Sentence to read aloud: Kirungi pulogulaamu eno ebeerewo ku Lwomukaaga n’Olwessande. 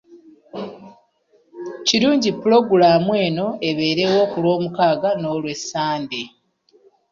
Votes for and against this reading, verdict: 2, 0, accepted